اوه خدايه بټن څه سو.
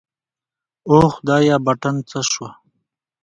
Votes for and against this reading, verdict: 2, 0, accepted